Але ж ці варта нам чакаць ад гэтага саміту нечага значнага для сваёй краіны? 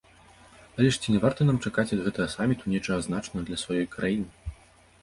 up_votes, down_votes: 0, 2